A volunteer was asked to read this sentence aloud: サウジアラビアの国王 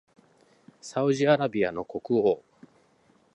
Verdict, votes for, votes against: accepted, 2, 0